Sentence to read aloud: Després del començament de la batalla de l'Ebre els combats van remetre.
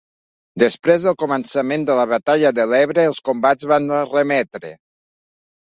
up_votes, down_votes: 1, 2